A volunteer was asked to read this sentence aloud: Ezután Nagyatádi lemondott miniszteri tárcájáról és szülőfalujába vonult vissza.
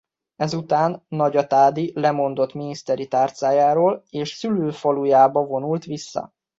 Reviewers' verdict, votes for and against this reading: accepted, 2, 0